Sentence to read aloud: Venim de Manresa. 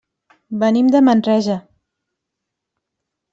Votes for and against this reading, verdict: 2, 0, accepted